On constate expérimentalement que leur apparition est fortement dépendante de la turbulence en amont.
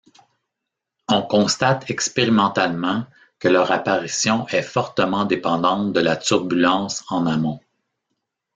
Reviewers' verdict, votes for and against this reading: accepted, 2, 0